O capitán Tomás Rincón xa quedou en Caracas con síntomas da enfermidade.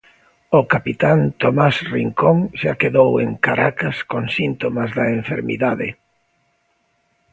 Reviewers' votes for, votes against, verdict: 2, 0, accepted